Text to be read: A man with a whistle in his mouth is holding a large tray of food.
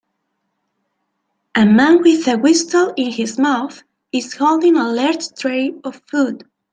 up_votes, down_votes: 1, 2